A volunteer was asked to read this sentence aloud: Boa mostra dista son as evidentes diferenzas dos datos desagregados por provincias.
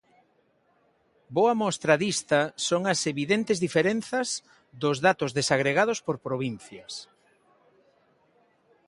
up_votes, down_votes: 2, 1